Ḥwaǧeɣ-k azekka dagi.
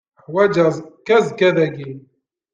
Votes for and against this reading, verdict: 0, 2, rejected